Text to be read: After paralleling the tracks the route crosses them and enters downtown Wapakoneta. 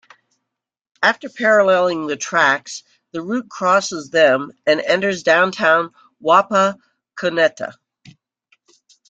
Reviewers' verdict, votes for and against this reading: accepted, 2, 0